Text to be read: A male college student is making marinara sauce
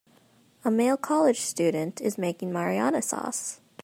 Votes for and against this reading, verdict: 1, 2, rejected